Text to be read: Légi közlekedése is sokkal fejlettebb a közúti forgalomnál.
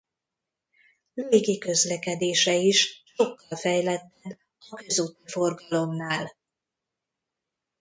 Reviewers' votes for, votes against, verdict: 1, 2, rejected